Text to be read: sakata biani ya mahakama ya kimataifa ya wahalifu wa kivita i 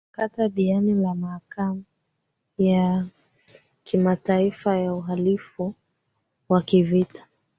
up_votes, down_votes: 1, 2